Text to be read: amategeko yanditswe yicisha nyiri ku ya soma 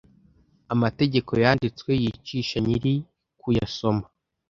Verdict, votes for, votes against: accepted, 2, 0